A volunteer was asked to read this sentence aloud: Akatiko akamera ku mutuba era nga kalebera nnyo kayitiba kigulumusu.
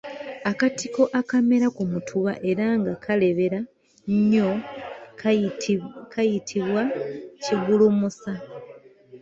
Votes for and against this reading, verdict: 1, 2, rejected